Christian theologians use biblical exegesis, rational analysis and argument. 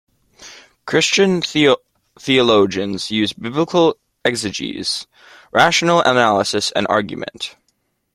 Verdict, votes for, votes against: rejected, 0, 2